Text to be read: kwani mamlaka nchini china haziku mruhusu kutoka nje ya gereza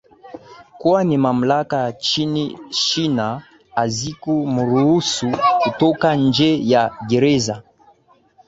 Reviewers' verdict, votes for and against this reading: accepted, 2, 1